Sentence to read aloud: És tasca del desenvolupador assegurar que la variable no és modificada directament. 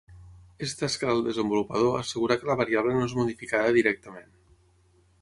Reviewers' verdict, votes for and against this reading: accepted, 6, 0